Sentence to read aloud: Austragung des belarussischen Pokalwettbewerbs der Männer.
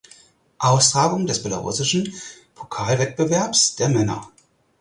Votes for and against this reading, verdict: 4, 0, accepted